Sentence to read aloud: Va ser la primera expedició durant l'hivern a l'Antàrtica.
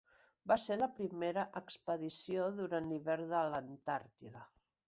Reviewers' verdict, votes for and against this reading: rejected, 0, 3